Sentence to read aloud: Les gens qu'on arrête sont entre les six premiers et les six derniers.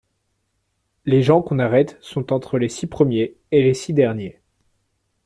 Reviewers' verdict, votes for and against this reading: accepted, 2, 0